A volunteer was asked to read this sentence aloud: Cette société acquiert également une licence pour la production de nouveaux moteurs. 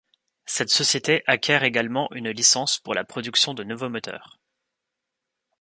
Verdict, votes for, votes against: rejected, 0, 2